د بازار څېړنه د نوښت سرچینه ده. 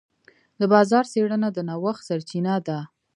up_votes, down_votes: 0, 2